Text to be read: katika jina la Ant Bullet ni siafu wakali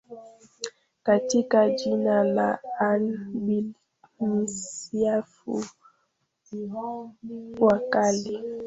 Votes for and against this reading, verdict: 0, 2, rejected